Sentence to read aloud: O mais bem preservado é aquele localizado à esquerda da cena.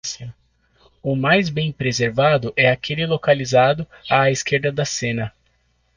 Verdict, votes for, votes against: accepted, 2, 0